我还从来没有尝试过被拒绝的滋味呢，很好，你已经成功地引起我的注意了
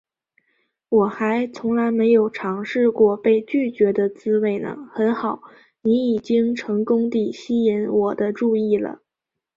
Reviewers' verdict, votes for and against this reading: accepted, 2, 0